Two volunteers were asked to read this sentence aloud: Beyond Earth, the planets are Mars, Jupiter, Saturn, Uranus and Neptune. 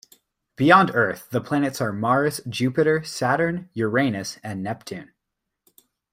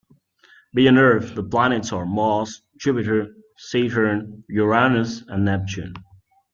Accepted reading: first